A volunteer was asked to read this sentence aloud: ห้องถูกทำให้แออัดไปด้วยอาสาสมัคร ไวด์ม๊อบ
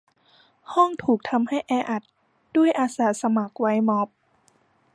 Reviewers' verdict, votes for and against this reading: rejected, 1, 2